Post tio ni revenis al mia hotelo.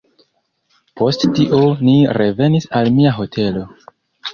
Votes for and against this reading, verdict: 2, 1, accepted